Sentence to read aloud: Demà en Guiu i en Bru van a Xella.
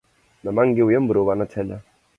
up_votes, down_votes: 0, 2